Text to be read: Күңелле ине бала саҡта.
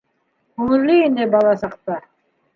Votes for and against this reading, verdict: 2, 1, accepted